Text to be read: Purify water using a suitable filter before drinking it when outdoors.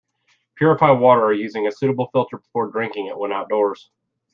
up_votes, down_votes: 1, 3